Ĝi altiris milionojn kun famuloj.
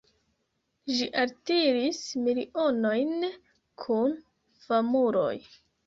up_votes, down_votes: 2, 0